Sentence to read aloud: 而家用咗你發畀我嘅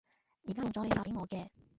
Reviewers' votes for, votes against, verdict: 0, 2, rejected